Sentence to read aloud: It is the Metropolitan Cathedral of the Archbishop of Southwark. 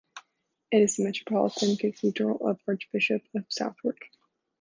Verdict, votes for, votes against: rejected, 1, 2